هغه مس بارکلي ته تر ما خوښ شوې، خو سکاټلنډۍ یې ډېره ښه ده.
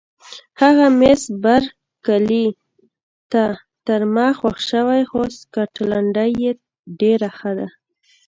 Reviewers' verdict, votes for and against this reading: rejected, 1, 2